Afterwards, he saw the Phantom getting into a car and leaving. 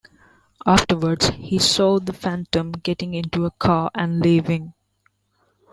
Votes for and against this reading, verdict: 2, 0, accepted